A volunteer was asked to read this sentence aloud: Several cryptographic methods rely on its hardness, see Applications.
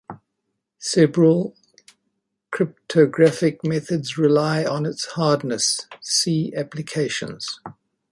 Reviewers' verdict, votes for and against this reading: accepted, 2, 0